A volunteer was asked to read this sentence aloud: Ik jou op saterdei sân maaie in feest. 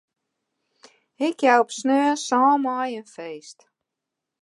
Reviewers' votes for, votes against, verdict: 0, 2, rejected